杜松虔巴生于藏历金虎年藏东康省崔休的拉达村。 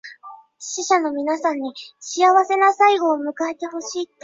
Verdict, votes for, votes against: rejected, 0, 2